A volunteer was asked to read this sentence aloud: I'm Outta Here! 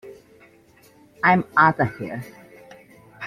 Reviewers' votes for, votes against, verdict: 2, 0, accepted